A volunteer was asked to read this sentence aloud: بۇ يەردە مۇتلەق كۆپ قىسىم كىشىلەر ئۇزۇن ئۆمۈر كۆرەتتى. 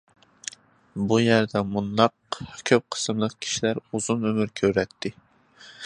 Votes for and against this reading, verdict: 0, 2, rejected